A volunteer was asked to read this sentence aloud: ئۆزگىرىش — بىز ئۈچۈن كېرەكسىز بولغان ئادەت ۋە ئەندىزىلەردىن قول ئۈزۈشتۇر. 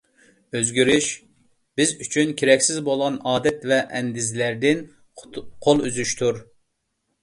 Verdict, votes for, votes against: rejected, 0, 2